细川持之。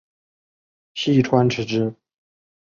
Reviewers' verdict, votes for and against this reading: accepted, 2, 0